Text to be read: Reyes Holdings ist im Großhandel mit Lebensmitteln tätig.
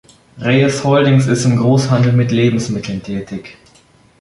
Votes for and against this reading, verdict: 2, 0, accepted